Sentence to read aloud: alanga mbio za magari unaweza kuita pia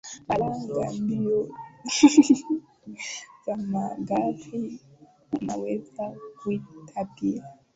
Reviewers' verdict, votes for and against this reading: rejected, 0, 2